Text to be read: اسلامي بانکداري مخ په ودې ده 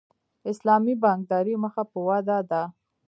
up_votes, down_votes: 2, 0